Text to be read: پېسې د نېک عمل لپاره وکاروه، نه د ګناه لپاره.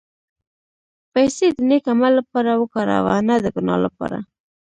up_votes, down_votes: 1, 2